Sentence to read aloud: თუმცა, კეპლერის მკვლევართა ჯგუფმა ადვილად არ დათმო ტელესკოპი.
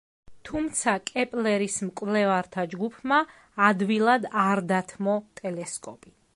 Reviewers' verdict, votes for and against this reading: accepted, 2, 0